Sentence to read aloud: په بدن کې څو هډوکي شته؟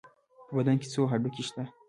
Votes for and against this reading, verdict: 2, 0, accepted